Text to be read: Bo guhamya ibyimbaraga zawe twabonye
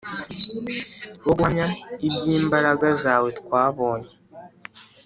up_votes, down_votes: 2, 0